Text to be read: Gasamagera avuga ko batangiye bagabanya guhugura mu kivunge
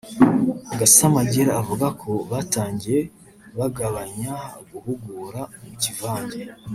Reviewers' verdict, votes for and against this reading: rejected, 1, 2